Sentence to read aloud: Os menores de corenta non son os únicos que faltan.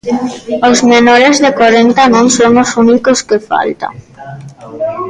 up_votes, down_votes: 1, 2